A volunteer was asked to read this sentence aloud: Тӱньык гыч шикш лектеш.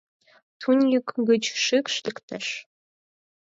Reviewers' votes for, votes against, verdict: 2, 4, rejected